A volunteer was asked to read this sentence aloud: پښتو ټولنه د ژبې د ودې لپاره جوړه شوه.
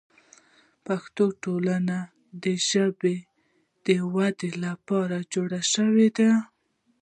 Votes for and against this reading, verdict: 2, 0, accepted